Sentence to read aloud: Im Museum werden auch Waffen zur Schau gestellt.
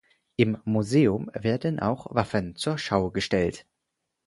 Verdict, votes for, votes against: accepted, 4, 0